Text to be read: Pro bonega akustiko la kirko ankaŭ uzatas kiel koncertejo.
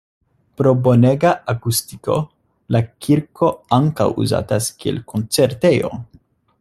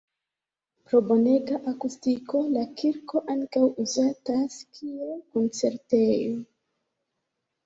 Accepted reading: first